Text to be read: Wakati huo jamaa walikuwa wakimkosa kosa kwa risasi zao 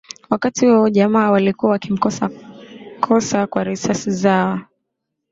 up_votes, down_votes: 4, 0